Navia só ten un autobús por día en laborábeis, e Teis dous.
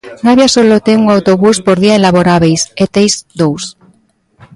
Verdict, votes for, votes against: rejected, 0, 2